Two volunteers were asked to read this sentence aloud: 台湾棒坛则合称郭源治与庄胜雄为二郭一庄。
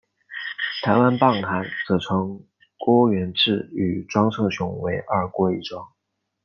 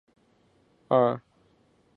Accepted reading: first